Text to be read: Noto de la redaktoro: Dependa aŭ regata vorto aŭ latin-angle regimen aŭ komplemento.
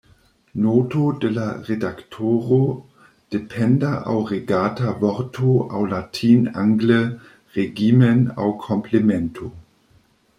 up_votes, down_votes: 2, 0